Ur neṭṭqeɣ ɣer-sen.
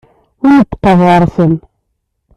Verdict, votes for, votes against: rejected, 1, 2